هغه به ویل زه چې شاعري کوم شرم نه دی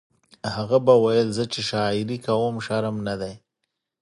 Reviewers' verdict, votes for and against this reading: accepted, 2, 0